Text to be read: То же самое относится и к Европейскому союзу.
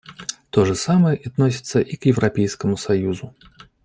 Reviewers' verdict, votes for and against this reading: accepted, 2, 0